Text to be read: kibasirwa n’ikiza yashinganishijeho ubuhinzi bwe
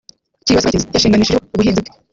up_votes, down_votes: 0, 3